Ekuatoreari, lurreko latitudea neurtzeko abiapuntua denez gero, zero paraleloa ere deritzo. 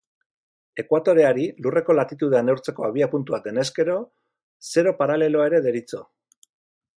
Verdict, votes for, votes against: accepted, 4, 2